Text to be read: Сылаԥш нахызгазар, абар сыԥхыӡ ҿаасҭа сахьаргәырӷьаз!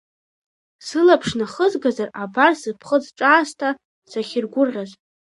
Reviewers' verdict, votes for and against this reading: rejected, 1, 2